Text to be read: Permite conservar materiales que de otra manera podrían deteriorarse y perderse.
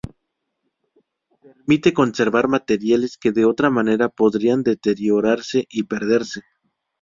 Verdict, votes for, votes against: accepted, 2, 0